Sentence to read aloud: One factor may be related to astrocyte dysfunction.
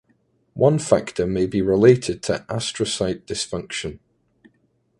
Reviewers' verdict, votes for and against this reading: accepted, 2, 0